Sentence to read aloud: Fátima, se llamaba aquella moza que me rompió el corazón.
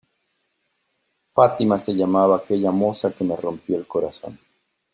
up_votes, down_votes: 2, 0